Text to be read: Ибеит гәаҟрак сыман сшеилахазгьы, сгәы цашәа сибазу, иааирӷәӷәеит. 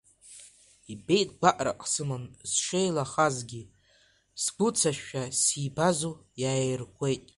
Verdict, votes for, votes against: rejected, 0, 2